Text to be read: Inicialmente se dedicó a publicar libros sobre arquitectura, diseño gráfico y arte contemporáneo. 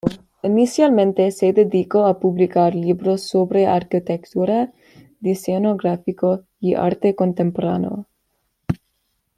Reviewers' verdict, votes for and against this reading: accepted, 2, 0